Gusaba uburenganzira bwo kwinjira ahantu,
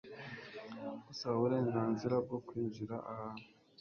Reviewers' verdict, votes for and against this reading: accepted, 2, 0